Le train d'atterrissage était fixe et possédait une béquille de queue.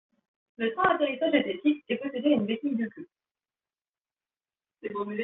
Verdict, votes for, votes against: rejected, 0, 2